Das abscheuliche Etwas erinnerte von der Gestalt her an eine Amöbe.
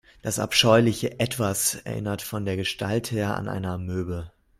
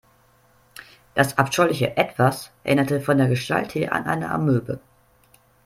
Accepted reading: second